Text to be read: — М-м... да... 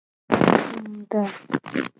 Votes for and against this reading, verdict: 0, 2, rejected